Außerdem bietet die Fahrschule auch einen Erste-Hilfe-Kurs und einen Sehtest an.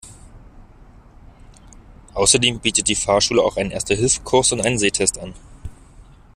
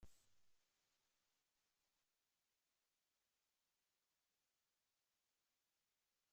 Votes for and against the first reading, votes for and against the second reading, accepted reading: 2, 0, 0, 2, first